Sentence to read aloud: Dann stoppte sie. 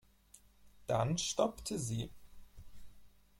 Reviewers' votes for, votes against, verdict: 4, 0, accepted